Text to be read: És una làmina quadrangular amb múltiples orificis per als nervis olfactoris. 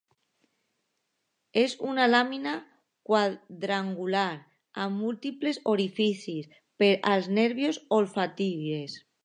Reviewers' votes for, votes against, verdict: 0, 2, rejected